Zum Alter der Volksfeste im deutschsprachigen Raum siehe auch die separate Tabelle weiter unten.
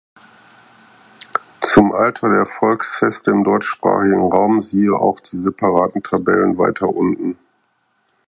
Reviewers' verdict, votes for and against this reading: rejected, 0, 4